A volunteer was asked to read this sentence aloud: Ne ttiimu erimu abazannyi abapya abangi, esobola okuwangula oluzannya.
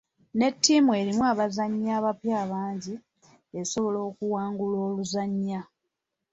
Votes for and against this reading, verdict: 3, 0, accepted